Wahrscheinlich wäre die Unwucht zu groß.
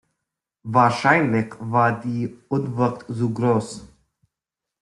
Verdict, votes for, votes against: rejected, 0, 2